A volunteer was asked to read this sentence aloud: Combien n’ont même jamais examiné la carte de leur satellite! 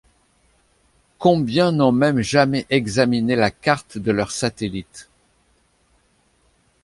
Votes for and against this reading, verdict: 2, 0, accepted